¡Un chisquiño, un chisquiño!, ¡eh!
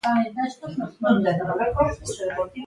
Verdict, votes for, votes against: rejected, 0, 2